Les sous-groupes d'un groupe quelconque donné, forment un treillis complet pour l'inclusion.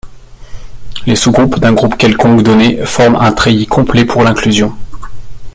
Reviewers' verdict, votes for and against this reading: rejected, 1, 3